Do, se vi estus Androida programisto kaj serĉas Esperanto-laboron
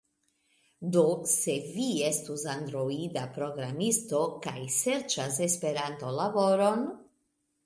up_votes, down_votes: 2, 0